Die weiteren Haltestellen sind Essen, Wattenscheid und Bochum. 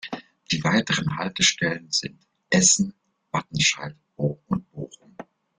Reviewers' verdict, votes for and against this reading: rejected, 0, 2